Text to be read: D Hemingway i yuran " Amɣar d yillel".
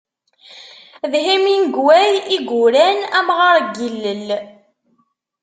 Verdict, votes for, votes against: rejected, 0, 2